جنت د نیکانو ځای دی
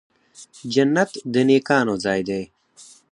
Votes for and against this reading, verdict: 4, 0, accepted